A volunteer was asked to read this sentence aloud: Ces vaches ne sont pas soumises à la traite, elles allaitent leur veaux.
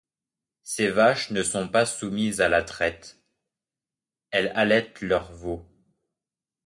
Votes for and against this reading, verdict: 1, 2, rejected